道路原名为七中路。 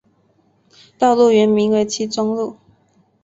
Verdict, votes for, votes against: accepted, 4, 0